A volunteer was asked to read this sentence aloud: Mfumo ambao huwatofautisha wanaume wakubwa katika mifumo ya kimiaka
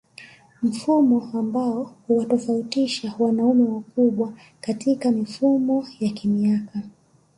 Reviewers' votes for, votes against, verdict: 0, 2, rejected